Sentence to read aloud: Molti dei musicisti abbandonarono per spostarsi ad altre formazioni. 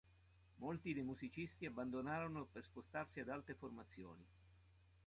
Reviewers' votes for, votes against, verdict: 2, 0, accepted